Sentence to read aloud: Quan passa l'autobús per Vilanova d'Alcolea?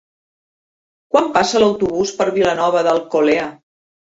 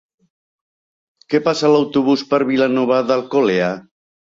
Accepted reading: first